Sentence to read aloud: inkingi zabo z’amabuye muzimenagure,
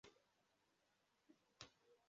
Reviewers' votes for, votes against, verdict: 0, 2, rejected